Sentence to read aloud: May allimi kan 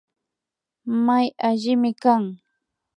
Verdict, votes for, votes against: accepted, 2, 0